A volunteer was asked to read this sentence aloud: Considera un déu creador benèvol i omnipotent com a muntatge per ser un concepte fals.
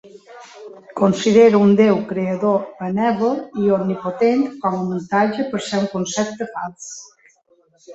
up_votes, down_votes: 1, 2